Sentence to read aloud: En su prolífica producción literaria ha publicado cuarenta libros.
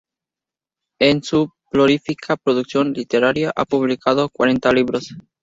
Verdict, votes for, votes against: rejected, 2, 2